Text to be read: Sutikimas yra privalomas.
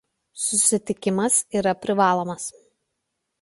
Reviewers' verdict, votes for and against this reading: rejected, 1, 2